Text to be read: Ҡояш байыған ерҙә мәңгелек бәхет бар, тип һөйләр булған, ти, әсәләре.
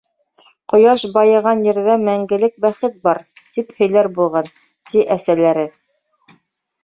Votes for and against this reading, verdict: 3, 0, accepted